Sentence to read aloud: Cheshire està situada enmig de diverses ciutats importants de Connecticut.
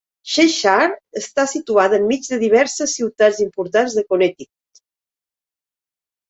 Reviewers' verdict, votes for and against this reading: rejected, 1, 2